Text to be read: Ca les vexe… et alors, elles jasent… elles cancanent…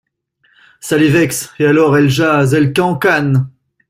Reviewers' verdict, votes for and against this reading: accepted, 2, 0